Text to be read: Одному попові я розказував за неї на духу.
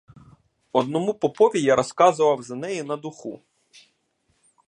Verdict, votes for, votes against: accepted, 2, 0